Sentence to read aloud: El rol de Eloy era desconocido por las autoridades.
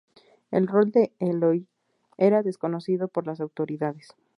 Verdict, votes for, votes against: accepted, 2, 0